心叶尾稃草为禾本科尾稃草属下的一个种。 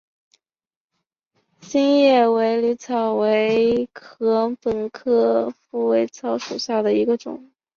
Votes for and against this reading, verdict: 0, 2, rejected